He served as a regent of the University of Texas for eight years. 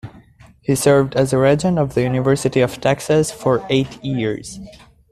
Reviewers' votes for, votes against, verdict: 2, 0, accepted